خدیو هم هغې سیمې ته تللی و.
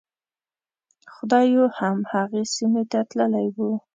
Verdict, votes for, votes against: rejected, 1, 2